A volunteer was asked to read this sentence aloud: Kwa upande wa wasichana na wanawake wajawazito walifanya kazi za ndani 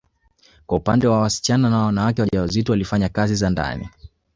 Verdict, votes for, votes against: accepted, 2, 1